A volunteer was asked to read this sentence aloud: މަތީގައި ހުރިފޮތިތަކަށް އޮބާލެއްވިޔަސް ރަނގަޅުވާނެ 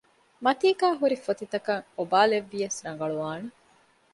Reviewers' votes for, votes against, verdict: 2, 0, accepted